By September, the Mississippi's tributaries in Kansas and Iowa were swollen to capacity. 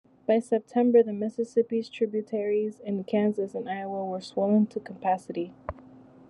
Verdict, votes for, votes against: accepted, 2, 0